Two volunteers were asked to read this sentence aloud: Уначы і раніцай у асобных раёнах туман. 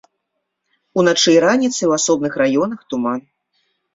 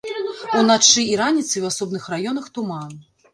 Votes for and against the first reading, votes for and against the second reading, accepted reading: 2, 0, 1, 2, first